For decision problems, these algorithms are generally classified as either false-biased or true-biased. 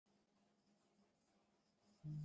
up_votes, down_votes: 0, 2